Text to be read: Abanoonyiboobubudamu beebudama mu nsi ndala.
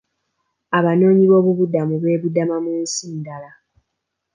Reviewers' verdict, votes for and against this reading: accepted, 2, 0